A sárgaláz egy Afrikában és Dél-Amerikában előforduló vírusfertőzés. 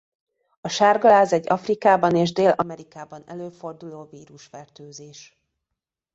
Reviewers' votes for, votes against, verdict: 2, 0, accepted